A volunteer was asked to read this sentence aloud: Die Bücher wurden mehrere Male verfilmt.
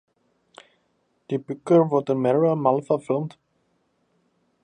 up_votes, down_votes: 0, 2